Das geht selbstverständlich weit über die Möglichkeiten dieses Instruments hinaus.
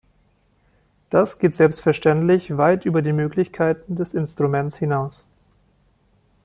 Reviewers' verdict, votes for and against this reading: rejected, 0, 2